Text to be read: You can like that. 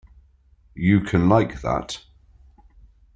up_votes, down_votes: 2, 0